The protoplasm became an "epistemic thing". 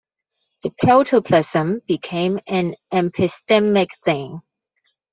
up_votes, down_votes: 1, 2